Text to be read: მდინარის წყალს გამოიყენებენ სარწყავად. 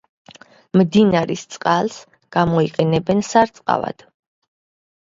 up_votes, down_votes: 2, 0